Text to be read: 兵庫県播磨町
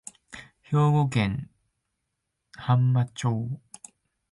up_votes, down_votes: 0, 2